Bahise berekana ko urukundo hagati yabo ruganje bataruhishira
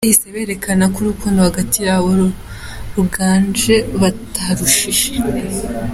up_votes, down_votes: 2, 1